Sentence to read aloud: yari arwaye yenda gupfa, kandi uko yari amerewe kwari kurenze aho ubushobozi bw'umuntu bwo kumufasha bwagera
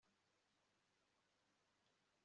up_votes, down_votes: 1, 2